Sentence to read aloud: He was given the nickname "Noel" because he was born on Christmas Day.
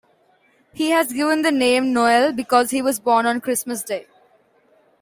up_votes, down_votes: 2, 0